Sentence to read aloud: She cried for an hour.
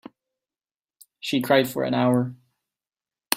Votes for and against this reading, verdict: 3, 0, accepted